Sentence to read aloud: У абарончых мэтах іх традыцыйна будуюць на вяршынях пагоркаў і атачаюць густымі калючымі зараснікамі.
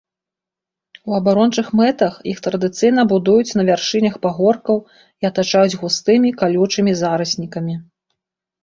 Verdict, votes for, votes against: accepted, 2, 0